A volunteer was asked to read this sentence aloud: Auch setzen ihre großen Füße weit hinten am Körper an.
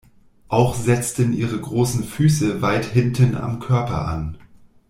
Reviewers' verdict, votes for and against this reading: rejected, 1, 2